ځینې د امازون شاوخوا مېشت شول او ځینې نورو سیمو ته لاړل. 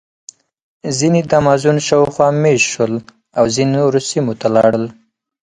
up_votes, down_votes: 4, 0